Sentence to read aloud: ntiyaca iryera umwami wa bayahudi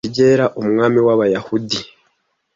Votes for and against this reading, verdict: 1, 2, rejected